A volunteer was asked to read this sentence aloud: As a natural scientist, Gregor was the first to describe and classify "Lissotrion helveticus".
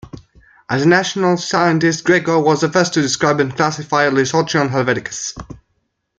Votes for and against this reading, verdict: 0, 2, rejected